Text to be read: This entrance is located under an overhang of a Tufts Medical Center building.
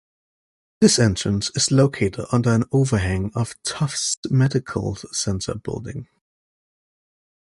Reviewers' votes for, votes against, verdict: 1, 2, rejected